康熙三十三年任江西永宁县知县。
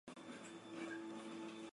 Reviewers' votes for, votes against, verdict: 2, 4, rejected